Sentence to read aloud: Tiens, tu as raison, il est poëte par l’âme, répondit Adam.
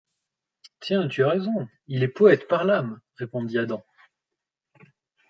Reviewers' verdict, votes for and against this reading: accepted, 2, 1